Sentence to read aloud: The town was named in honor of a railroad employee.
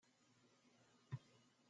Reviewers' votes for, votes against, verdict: 0, 2, rejected